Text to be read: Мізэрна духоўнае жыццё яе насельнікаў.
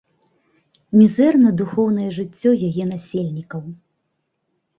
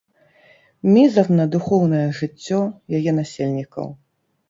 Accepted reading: first